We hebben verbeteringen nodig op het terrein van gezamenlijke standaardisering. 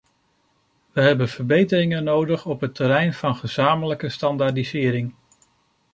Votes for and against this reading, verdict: 2, 0, accepted